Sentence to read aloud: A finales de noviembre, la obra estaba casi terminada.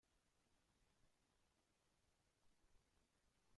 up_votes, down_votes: 0, 2